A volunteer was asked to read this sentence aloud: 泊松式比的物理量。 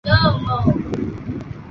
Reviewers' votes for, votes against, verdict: 2, 5, rejected